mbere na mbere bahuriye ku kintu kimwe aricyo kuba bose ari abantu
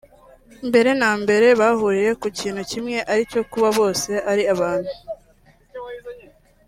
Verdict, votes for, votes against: accepted, 2, 0